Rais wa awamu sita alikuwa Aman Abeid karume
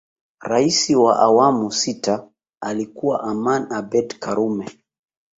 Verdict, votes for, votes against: accepted, 3, 1